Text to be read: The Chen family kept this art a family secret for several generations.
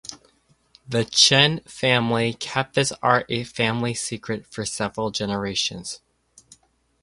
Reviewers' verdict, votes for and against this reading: accepted, 2, 0